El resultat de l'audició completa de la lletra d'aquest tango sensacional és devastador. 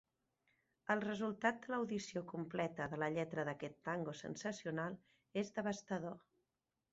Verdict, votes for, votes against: rejected, 1, 2